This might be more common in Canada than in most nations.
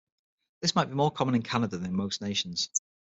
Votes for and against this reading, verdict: 0, 6, rejected